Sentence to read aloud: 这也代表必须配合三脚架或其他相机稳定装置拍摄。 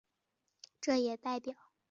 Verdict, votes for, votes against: rejected, 0, 2